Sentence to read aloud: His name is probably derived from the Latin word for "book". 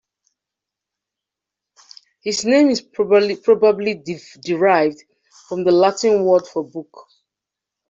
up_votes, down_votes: 0, 3